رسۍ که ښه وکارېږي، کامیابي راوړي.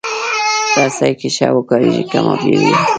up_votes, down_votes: 0, 2